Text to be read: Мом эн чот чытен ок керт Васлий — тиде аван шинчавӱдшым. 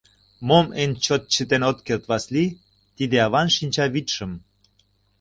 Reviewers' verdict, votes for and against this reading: rejected, 0, 2